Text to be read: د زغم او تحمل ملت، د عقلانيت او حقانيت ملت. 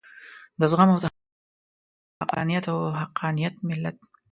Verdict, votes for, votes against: rejected, 1, 2